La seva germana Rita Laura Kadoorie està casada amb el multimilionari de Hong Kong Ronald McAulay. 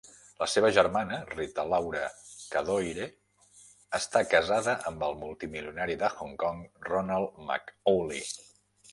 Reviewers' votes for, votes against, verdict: 1, 2, rejected